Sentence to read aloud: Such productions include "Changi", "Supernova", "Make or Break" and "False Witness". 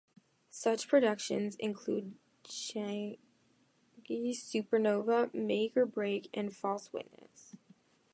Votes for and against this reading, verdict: 0, 2, rejected